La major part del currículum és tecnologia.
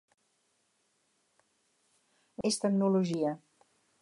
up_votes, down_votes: 2, 4